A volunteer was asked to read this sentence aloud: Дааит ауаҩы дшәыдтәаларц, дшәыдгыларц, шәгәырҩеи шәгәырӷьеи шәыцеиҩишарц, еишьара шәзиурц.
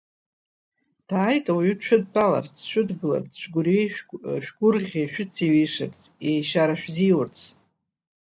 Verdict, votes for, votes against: rejected, 0, 2